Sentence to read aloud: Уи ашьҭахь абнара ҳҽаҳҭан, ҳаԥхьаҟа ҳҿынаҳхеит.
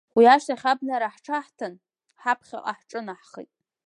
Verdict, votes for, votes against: accepted, 4, 0